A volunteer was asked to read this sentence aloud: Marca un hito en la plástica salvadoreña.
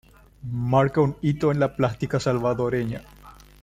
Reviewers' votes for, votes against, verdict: 2, 1, accepted